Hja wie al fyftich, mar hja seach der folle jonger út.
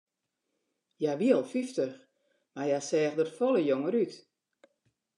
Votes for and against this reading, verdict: 2, 0, accepted